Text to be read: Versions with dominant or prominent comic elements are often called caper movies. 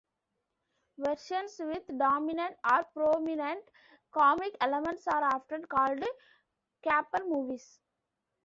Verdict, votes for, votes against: accepted, 2, 0